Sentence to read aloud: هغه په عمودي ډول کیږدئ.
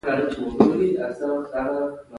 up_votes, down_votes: 0, 2